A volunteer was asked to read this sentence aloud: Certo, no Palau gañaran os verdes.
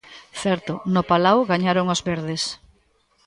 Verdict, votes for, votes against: rejected, 0, 2